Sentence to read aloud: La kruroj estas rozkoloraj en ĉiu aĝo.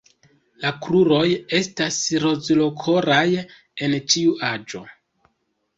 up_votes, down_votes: 0, 2